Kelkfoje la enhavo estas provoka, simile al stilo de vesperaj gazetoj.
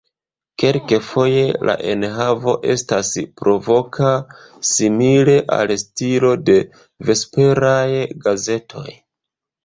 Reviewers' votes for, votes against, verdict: 0, 2, rejected